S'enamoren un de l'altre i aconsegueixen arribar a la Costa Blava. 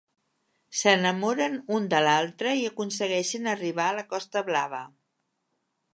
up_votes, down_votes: 3, 0